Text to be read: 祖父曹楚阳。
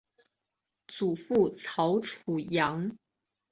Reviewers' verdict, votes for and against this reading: accepted, 2, 0